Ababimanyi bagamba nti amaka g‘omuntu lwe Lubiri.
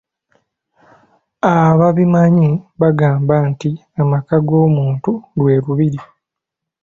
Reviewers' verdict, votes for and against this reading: accepted, 2, 0